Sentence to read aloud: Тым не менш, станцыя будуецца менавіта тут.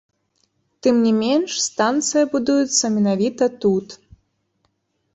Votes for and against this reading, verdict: 0, 2, rejected